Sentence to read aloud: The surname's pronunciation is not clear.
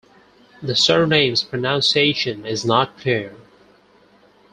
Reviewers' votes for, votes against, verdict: 4, 0, accepted